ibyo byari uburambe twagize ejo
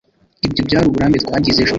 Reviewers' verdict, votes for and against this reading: accepted, 3, 0